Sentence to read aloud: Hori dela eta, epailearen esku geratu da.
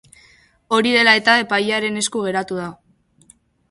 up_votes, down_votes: 3, 0